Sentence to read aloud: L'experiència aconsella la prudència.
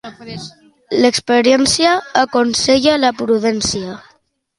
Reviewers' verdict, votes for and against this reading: rejected, 1, 2